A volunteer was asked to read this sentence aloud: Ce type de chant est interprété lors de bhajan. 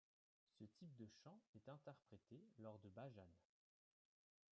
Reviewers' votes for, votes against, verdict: 1, 2, rejected